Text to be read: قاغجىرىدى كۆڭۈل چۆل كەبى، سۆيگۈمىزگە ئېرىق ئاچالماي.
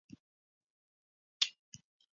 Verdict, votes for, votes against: rejected, 0, 2